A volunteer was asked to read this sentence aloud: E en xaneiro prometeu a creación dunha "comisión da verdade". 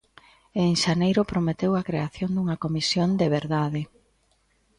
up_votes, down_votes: 1, 2